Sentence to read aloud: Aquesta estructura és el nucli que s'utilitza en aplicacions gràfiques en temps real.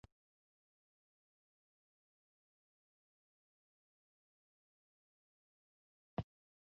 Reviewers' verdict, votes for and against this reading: rejected, 0, 2